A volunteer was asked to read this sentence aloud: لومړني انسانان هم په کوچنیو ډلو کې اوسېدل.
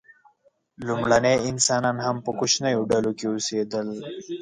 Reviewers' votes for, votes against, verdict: 1, 2, rejected